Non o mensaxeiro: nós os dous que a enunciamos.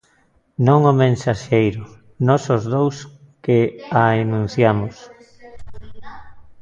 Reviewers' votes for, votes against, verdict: 0, 2, rejected